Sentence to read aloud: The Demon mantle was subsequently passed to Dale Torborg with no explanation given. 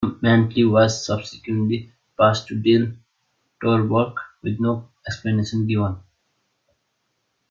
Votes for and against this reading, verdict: 0, 2, rejected